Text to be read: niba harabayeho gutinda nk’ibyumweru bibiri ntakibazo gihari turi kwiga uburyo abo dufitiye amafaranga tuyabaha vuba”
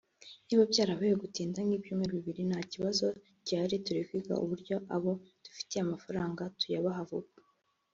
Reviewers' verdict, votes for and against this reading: rejected, 0, 2